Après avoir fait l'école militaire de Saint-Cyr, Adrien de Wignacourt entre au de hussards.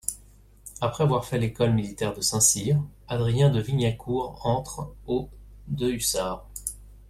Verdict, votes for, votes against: accepted, 2, 0